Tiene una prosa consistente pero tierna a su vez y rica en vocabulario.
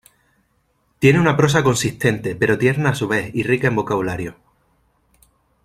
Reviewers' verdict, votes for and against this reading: accepted, 2, 0